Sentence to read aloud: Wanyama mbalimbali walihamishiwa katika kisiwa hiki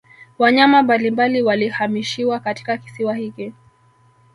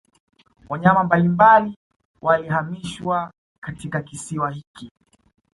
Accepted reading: second